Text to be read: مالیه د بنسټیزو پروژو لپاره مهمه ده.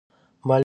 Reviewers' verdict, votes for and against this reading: rejected, 0, 2